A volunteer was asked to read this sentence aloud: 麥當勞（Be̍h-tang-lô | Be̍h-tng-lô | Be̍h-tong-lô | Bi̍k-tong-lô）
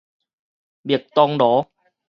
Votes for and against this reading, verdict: 4, 0, accepted